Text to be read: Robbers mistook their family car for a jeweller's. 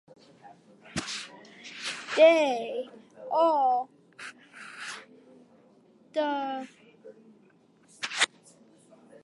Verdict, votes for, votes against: rejected, 1, 2